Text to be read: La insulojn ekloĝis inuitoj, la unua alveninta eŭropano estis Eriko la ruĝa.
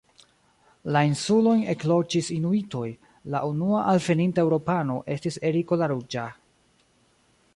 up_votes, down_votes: 1, 2